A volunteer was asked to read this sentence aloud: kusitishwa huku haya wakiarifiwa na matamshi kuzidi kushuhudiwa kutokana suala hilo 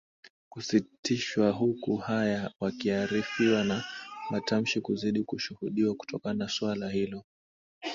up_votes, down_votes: 2, 1